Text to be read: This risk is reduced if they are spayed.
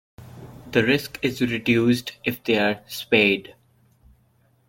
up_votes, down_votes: 1, 2